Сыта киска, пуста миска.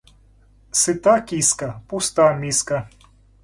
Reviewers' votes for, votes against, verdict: 2, 0, accepted